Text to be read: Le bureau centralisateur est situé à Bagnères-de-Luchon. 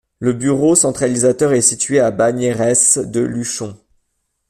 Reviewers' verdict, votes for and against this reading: rejected, 0, 2